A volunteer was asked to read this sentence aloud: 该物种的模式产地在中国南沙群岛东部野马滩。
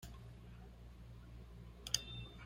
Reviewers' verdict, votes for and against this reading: rejected, 0, 3